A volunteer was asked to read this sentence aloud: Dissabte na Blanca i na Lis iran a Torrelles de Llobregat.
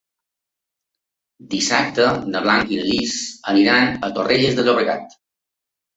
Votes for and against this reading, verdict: 0, 2, rejected